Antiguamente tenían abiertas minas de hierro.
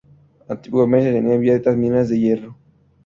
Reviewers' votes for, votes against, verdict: 0, 2, rejected